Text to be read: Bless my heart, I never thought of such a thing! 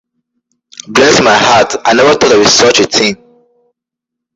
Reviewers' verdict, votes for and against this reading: accepted, 2, 1